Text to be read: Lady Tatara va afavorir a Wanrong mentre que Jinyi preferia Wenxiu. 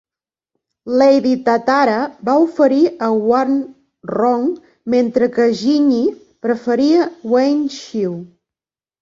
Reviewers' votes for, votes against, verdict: 0, 3, rejected